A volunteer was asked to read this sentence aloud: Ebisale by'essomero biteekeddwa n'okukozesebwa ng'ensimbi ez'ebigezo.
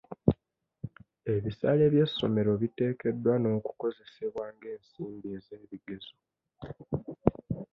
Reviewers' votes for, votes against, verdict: 2, 0, accepted